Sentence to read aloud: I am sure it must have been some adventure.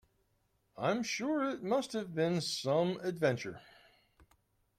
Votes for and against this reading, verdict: 0, 2, rejected